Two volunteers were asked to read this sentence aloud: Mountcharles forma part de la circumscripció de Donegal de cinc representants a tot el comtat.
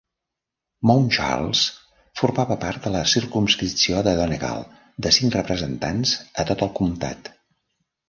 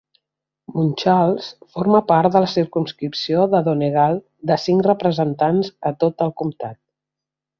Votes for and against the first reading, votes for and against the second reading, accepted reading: 1, 2, 2, 0, second